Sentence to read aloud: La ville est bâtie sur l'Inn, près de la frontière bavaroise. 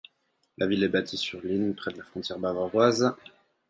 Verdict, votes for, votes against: accepted, 4, 0